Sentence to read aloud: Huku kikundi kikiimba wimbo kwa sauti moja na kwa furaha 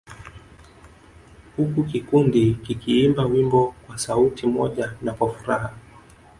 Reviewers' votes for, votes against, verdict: 1, 2, rejected